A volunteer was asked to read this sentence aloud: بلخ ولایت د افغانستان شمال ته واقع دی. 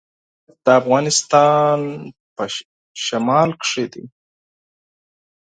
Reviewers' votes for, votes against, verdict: 0, 4, rejected